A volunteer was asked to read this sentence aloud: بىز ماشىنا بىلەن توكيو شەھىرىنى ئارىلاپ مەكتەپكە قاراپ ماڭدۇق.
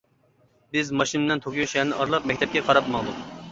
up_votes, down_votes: 0, 2